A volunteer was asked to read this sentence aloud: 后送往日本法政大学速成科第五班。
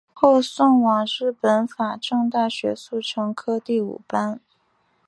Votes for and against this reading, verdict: 3, 0, accepted